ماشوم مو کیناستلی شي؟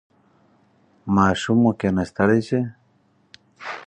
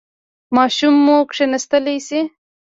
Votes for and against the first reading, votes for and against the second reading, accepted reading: 4, 0, 0, 2, first